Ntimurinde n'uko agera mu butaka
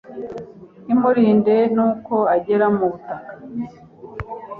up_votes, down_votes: 2, 0